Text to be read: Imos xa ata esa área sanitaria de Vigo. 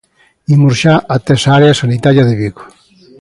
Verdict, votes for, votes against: accepted, 2, 0